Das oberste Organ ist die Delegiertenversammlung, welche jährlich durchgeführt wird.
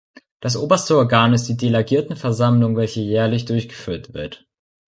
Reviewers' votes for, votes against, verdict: 1, 2, rejected